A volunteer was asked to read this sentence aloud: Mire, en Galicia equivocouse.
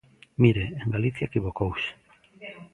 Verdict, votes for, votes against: rejected, 1, 2